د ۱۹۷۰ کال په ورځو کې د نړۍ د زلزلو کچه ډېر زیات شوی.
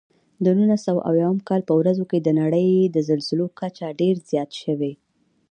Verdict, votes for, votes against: rejected, 0, 2